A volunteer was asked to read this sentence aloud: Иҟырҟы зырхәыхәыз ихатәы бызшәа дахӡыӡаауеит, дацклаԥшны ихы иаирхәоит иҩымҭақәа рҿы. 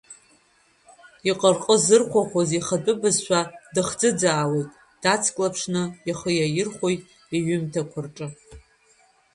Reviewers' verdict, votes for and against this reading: rejected, 0, 2